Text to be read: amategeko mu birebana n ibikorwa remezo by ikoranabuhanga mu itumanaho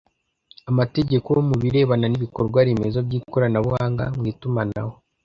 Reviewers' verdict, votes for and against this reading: accepted, 2, 0